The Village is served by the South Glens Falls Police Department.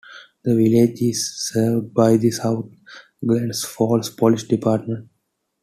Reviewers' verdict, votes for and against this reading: accepted, 2, 0